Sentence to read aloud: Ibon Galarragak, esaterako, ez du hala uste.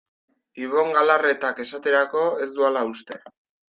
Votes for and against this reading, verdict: 1, 2, rejected